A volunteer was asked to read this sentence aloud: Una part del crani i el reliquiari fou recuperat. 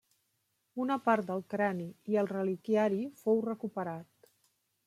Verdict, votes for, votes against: accepted, 4, 0